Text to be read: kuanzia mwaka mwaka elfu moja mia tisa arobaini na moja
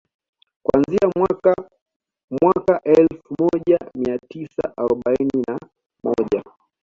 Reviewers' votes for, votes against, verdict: 2, 1, accepted